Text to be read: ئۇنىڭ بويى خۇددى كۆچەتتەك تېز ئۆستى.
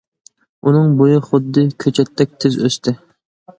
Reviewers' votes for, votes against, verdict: 2, 0, accepted